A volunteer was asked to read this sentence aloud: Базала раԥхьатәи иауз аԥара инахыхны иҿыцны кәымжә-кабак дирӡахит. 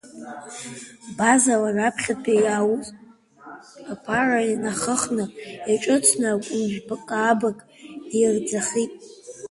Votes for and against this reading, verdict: 1, 2, rejected